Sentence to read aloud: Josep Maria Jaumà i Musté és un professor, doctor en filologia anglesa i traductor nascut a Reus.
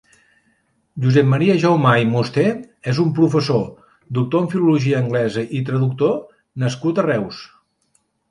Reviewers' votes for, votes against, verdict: 2, 0, accepted